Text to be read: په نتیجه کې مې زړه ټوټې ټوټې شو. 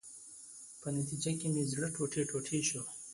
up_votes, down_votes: 2, 0